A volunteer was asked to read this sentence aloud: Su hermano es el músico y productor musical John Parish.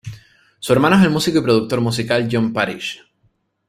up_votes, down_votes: 2, 0